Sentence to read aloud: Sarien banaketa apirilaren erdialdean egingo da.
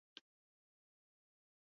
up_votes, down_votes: 0, 4